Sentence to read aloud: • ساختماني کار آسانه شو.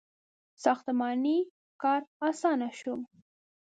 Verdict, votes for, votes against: accepted, 2, 0